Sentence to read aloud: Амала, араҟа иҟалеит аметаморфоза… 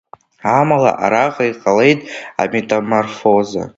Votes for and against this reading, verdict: 1, 2, rejected